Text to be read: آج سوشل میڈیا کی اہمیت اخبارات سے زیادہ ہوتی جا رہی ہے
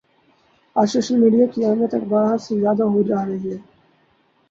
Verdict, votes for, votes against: rejected, 2, 2